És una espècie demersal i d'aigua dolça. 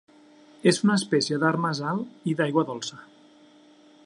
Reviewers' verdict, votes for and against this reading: rejected, 0, 2